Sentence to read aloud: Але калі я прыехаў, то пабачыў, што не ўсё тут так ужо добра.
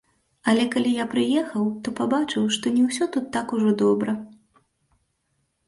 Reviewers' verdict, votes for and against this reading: accepted, 2, 1